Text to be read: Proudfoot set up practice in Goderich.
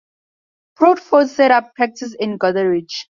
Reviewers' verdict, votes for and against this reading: accepted, 4, 0